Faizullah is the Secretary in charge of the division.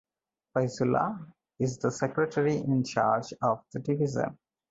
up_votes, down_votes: 4, 0